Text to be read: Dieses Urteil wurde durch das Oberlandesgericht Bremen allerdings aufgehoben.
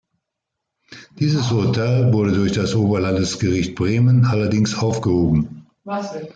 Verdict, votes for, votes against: rejected, 1, 2